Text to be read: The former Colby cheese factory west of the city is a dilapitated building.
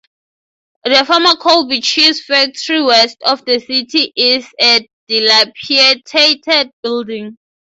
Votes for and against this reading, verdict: 0, 3, rejected